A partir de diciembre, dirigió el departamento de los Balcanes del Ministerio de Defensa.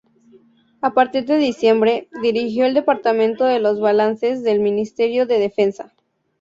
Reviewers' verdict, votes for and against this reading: rejected, 0, 4